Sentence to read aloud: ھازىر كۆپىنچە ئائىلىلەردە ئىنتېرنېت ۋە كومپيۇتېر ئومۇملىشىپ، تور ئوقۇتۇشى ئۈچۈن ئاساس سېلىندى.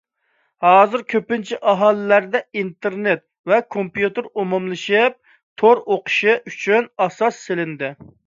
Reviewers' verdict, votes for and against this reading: accepted, 2, 1